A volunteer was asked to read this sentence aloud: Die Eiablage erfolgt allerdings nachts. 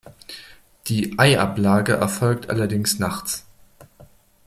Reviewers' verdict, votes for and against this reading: accepted, 2, 0